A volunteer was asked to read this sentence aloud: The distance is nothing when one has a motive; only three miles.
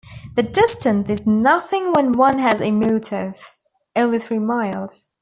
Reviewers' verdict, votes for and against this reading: accepted, 2, 0